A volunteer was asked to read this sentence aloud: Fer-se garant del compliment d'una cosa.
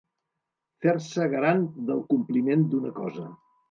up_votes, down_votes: 2, 0